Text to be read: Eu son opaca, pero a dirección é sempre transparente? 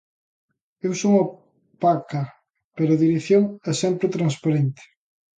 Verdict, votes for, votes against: rejected, 0, 2